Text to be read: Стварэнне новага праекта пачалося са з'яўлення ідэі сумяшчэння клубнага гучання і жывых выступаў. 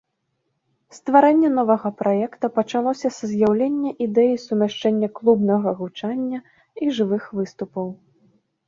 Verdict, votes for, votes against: accepted, 2, 0